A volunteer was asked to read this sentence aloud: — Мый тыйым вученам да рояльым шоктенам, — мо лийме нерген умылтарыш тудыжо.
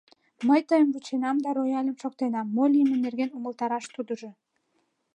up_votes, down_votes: 1, 2